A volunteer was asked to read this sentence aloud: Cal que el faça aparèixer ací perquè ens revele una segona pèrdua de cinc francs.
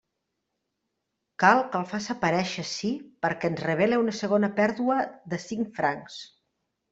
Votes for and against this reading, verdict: 2, 0, accepted